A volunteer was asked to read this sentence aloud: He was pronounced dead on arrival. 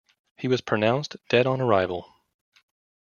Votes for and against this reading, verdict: 2, 0, accepted